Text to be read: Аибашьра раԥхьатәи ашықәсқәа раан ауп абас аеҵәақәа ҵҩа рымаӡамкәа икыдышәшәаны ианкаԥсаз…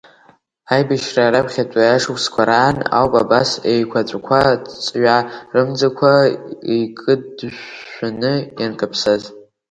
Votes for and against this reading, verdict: 1, 2, rejected